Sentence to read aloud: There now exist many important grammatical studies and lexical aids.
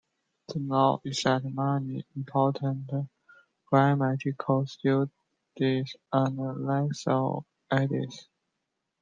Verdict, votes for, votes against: rejected, 1, 2